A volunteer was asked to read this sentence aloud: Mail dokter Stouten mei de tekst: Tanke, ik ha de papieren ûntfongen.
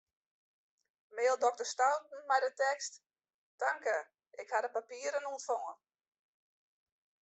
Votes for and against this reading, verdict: 1, 2, rejected